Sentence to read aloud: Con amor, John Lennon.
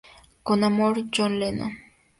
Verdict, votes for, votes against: accepted, 2, 0